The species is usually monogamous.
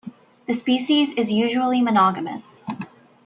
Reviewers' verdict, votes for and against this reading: rejected, 0, 2